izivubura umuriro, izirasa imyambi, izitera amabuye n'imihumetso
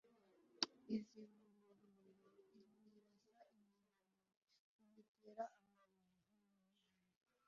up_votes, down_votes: 1, 2